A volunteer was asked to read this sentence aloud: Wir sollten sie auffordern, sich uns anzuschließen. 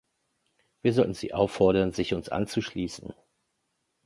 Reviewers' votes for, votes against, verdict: 3, 0, accepted